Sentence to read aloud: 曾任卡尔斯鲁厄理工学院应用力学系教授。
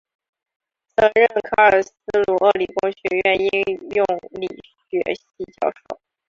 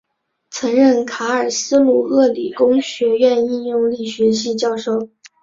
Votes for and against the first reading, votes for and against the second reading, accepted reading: 1, 2, 2, 0, second